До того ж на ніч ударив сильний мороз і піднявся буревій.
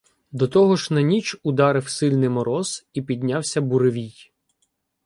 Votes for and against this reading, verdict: 2, 0, accepted